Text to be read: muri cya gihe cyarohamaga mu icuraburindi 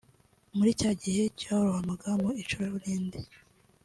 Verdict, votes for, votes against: accepted, 2, 0